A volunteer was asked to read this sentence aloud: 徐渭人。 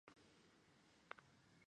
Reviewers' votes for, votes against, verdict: 3, 4, rejected